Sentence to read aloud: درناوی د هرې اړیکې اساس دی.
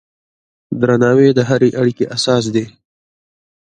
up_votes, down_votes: 2, 1